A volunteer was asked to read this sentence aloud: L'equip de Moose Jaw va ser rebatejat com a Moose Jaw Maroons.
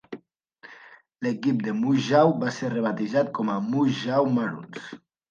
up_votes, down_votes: 2, 0